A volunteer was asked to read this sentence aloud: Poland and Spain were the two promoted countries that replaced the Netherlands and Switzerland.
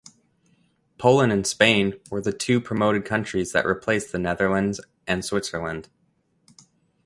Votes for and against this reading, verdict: 1, 2, rejected